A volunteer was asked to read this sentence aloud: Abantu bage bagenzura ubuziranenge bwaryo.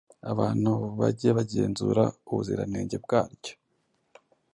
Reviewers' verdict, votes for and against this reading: accepted, 2, 0